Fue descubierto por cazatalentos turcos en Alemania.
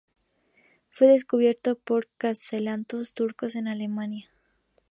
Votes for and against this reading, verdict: 0, 2, rejected